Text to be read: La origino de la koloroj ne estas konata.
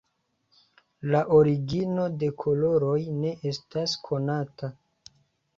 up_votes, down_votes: 1, 2